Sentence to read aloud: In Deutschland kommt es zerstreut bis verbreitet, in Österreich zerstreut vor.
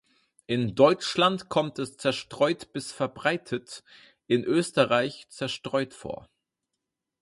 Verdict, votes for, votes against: accepted, 4, 0